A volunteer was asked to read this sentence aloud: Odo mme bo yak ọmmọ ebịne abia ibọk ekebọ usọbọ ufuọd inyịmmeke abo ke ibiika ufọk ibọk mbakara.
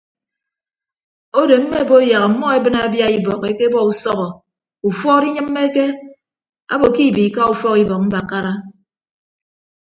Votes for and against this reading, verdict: 2, 0, accepted